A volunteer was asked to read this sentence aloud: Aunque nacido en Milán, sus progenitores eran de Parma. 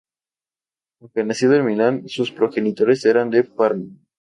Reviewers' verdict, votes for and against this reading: accepted, 2, 0